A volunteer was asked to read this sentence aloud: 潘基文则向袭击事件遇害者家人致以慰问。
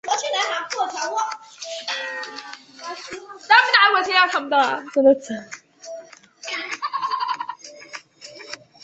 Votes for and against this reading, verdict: 0, 2, rejected